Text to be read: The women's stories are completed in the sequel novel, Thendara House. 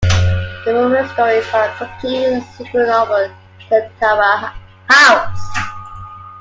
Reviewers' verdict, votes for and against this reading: rejected, 0, 2